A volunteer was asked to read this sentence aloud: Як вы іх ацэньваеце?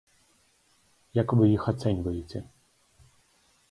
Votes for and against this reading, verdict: 4, 0, accepted